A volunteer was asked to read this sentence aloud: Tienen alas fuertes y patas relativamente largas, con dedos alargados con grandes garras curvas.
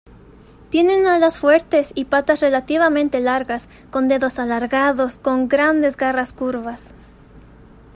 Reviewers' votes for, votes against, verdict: 2, 0, accepted